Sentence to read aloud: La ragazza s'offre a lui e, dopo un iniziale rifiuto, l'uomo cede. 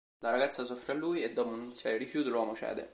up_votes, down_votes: 2, 0